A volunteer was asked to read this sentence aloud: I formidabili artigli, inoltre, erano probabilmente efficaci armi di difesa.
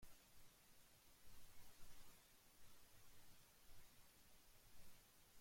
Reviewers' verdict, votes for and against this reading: rejected, 0, 3